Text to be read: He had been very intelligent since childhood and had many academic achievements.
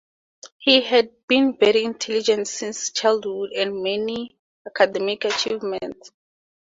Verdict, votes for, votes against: rejected, 2, 4